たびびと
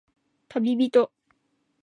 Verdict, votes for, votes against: accepted, 2, 0